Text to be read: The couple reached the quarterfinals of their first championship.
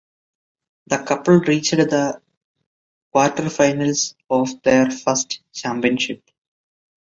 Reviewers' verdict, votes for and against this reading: accepted, 2, 0